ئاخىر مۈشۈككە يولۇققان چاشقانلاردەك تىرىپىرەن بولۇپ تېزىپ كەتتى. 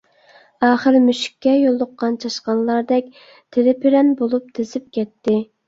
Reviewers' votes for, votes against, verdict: 2, 0, accepted